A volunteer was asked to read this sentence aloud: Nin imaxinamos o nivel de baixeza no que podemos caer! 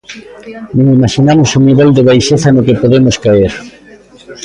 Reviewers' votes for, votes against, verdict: 2, 0, accepted